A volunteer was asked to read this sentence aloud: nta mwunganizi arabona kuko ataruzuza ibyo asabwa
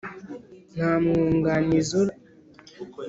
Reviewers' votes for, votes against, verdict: 1, 3, rejected